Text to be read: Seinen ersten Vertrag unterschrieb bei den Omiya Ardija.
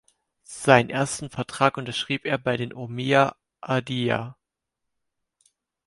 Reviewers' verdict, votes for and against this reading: rejected, 2, 4